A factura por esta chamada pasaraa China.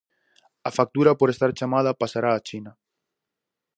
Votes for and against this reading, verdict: 0, 4, rejected